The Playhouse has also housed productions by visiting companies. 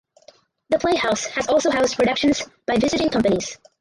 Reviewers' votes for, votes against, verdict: 2, 4, rejected